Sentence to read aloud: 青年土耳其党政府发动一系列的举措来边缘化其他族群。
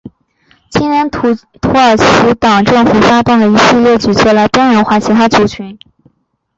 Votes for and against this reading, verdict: 2, 0, accepted